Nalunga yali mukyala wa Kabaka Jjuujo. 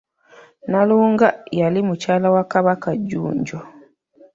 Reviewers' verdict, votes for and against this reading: rejected, 0, 2